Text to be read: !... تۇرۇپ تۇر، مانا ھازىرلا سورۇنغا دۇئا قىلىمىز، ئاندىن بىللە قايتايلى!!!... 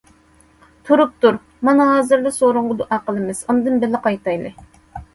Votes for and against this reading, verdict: 2, 0, accepted